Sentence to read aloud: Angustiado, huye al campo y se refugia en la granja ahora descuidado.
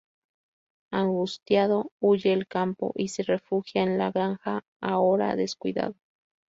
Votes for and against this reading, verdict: 2, 2, rejected